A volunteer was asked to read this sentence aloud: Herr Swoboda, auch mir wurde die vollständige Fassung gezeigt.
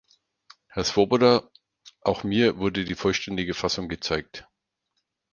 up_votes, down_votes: 4, 0